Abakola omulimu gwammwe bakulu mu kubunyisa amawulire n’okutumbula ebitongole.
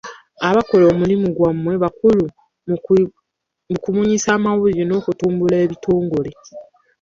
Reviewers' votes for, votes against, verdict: 0, 2, rejected